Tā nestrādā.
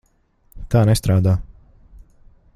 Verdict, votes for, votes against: accepted, 2, 0